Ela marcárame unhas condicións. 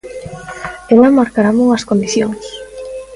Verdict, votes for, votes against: rejected, 1, 2